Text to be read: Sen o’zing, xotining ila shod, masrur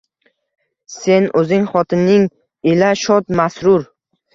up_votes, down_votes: 2, 0